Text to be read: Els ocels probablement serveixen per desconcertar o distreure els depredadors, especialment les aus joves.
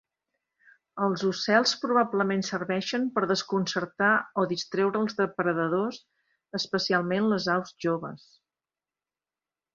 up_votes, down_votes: 2, 0